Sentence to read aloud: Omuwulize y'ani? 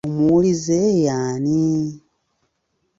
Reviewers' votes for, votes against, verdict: 0, 2, rejected